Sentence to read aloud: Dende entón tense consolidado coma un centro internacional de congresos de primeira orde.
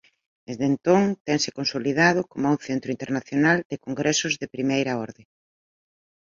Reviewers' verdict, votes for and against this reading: accepted, 3, 1